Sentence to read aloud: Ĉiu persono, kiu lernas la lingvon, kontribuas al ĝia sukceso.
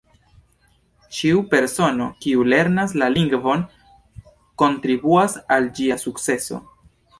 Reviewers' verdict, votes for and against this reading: rejected, 1, 2